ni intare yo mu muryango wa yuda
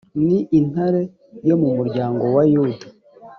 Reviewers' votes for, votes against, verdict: 0, 2, rejected